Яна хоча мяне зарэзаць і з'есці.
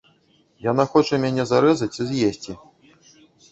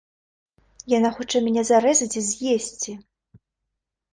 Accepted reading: second